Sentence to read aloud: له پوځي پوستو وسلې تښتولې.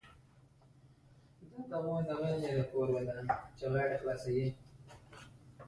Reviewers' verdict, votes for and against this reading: rejected, 1, 2